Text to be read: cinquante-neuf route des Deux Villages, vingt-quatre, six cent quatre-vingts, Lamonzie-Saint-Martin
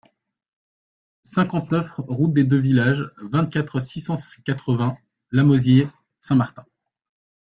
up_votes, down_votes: 0, 2